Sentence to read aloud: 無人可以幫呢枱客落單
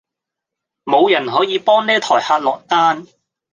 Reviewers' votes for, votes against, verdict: 1, 2, rejected